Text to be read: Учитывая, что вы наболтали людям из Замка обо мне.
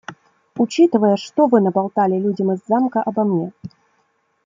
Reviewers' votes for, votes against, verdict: 2, 0, accepted